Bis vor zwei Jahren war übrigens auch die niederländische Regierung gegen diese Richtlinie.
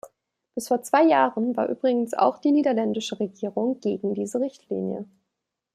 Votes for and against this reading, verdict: 2, 0, accepted